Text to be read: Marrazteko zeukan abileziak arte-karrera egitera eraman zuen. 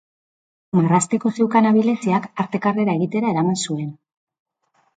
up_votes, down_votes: 3, 0